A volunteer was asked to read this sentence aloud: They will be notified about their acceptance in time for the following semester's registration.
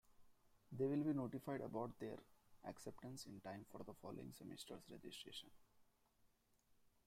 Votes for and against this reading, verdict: 2, 1, accepted